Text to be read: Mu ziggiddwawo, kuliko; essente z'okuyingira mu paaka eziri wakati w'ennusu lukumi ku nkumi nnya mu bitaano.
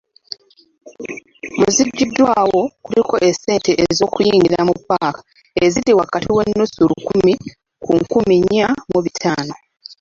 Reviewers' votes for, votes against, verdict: 0, 2, rejected